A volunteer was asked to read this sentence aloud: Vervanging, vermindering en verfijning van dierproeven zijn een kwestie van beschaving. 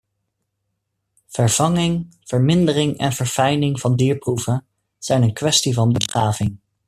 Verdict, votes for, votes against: rejected, 1, 2